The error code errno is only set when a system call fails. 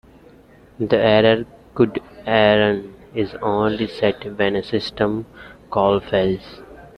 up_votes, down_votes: 1, 2